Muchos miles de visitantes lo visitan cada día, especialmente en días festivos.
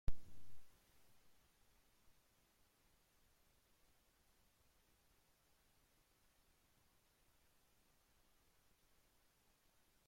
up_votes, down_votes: 0, 2